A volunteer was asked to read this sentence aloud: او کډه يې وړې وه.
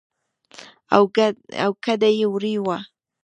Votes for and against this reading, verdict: 1, 2, rejected